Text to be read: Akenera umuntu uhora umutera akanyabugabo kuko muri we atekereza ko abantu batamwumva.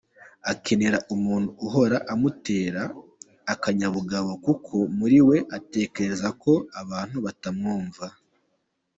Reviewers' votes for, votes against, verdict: 2, 1, accepted